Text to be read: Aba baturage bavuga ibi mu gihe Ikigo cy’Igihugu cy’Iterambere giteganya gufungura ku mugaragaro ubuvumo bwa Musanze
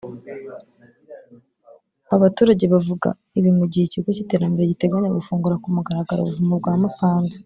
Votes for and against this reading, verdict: 0, 2, rejected